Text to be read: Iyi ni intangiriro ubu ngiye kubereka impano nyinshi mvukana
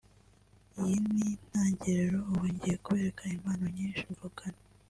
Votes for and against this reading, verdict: 1, 2, rejected